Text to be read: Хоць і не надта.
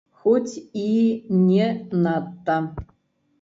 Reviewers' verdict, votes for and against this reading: rejected, 1, 2